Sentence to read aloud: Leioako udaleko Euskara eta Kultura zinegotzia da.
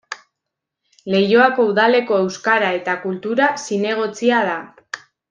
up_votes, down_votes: 2, 0